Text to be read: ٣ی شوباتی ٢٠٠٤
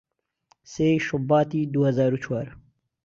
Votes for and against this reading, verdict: 0, 2, rejected